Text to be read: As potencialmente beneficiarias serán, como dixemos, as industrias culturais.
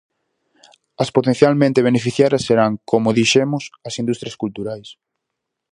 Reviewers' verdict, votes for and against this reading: accepted, 4, 0